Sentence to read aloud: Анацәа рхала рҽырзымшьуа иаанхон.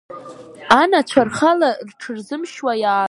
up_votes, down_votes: 1, 3